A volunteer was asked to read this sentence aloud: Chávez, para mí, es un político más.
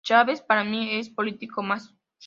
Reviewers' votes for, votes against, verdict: 1, 2, rejected